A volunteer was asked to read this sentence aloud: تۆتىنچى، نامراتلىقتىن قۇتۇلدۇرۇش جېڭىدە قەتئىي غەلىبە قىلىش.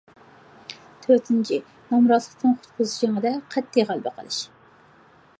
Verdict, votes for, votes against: rejected, 0, 2